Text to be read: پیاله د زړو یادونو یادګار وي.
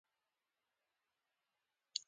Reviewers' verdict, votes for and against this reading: rejected, 0, 2